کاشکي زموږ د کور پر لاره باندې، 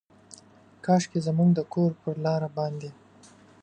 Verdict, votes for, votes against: accepted, 2, 1